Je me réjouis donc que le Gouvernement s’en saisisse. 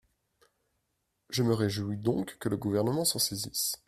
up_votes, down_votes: 2, 1